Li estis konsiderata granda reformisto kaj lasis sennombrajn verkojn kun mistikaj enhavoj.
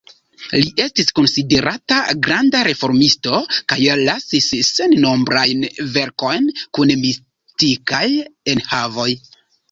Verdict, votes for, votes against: rejected, 1, 2